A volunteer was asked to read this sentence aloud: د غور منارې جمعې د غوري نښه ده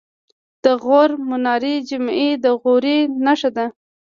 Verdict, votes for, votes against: accepted, 2, 0